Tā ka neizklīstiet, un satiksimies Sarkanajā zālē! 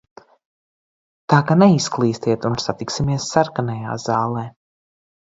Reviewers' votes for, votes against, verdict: 2, 0, accepted